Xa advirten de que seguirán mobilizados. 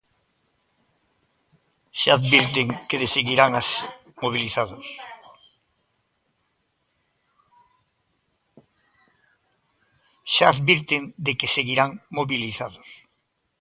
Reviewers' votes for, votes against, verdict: 0, 2, rejected